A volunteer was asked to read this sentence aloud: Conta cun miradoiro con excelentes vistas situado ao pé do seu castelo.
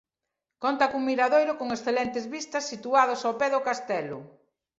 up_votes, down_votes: 1, 2